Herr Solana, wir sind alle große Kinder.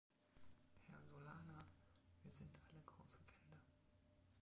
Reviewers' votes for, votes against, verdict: 0, 2, rejected